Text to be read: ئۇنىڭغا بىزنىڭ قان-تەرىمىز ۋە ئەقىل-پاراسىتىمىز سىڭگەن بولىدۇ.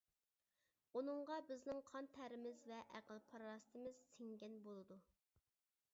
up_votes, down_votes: 2, 0